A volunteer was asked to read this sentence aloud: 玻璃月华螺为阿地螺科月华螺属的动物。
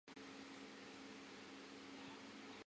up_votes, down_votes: 3, 5